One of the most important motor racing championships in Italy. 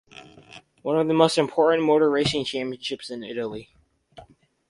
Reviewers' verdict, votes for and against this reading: accepted, 4, 0